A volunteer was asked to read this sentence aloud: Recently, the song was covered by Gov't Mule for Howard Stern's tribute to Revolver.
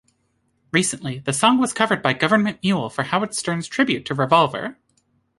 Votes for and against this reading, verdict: 2, 0, accepted